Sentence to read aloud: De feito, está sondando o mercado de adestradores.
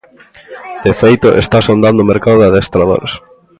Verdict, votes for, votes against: rejected, 1, 2